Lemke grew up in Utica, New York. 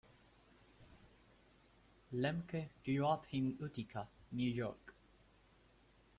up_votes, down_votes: 2, 0